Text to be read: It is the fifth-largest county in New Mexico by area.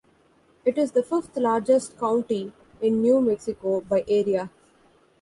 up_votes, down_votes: 2, 0